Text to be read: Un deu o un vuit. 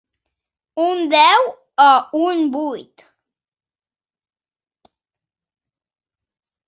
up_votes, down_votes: 2, 0